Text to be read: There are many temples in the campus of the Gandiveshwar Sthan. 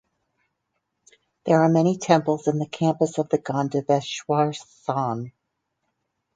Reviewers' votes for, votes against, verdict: 2, 4, rejected